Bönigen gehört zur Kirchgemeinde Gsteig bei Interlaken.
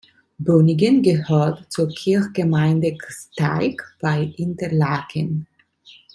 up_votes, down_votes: 2, 0